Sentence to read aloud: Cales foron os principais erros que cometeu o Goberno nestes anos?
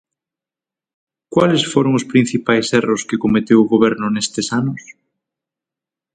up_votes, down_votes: 0, 6